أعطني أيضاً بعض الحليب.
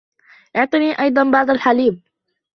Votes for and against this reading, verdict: 0, 2, rejected